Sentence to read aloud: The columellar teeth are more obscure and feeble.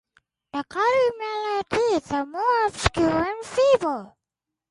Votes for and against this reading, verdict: 0, 2, rejected